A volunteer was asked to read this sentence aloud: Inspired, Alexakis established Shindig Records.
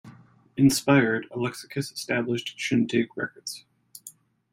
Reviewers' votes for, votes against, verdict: 2, 0, accepted